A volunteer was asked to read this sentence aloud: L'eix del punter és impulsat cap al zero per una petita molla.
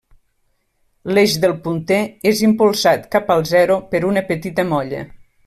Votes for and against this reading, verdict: 3, 0, accepted